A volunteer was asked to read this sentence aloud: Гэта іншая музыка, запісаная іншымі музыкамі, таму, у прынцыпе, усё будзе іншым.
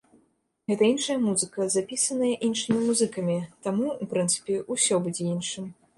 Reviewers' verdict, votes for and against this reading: accepted, 2, 0